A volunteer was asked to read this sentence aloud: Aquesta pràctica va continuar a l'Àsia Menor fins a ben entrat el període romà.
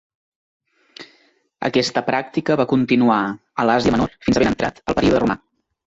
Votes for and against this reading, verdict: 1, 2, rejected